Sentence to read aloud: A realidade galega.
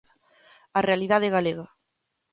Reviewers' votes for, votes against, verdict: 2, 0, accepted